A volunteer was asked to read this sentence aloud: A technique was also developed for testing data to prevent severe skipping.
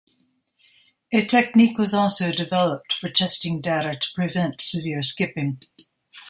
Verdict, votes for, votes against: accepted, 2, 0